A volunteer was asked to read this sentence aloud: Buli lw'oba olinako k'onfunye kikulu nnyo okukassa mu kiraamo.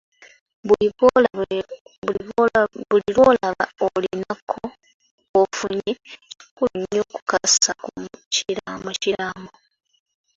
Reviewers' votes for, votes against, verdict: 0, 2, rejected